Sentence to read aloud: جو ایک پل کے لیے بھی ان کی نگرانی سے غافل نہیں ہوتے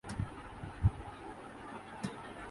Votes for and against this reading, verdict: 1, 2, rejected